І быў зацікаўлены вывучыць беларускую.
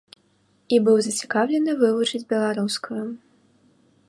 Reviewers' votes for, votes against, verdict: 2, 0, accepted